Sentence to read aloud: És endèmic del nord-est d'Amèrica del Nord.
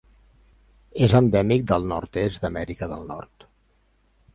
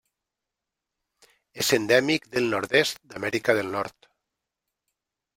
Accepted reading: first